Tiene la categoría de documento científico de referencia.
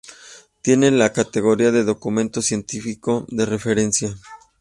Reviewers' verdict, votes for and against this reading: accepted, 2, 1